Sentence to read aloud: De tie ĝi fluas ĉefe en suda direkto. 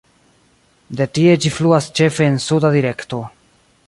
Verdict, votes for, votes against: accepted, 2, 0